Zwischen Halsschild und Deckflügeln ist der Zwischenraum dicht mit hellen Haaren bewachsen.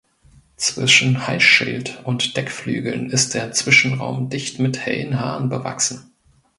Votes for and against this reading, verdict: 1, 2, rejected